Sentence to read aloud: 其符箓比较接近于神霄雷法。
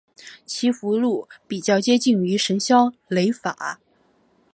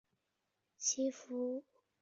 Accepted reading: first